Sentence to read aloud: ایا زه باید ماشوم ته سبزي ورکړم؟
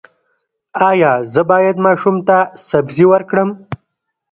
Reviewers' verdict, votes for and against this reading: rejected, 2, 3